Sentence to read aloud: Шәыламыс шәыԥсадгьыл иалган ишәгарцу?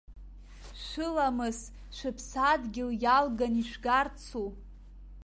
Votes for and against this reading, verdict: 2, 1, accepted